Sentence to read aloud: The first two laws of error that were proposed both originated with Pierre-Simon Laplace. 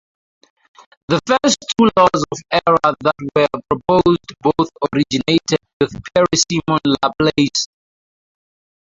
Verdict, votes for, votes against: rejected, 0, 2